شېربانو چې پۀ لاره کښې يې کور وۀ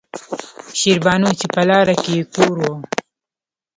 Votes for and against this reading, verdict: 2, 0, accepted